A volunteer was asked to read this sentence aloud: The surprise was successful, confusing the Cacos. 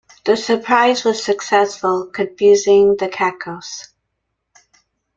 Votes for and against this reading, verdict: 2, 0, accepted